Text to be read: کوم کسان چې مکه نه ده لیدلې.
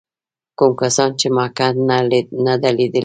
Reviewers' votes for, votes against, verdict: 2, 1, accepted